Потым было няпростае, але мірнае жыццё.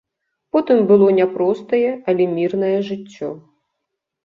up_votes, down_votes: 2, 0